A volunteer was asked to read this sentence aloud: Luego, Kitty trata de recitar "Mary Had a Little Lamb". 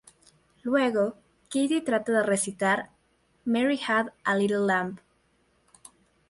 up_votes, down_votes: 2, 0